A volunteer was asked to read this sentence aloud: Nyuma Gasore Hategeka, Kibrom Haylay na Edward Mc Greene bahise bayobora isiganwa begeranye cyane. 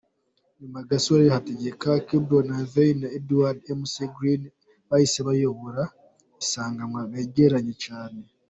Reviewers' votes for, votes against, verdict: 2, 1, accepted